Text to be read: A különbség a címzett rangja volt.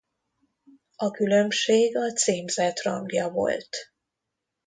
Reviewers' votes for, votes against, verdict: 2, 0, accepted